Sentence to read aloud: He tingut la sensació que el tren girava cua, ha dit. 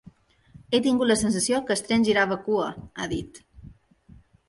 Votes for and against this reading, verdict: 1, 2, rejected